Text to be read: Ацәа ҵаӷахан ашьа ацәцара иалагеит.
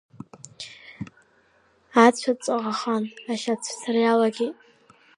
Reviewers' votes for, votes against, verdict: 2, 0, accepted